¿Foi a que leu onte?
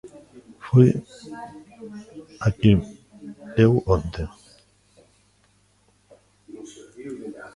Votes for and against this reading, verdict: 0, 2, rejected